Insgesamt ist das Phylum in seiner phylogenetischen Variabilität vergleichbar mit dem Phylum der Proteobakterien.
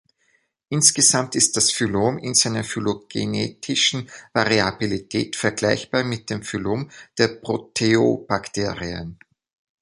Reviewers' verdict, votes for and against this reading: accepted, 2, 0